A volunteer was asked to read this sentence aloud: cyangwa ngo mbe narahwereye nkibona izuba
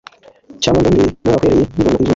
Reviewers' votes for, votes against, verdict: 1, 2, rejected